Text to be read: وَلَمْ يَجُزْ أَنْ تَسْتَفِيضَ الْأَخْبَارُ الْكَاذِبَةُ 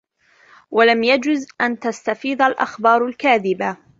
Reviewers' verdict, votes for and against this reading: rejected, 0, 2